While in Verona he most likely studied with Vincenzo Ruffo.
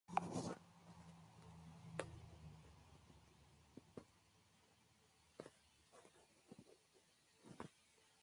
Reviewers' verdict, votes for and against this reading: rejected, 0, 2